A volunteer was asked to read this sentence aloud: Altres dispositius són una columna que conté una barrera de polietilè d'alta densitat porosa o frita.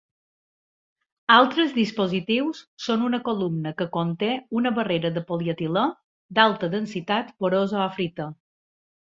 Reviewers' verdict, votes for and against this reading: accepted, 2, 0